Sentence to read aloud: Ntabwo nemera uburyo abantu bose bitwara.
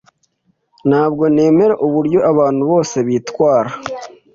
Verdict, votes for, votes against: accepted, 2, 0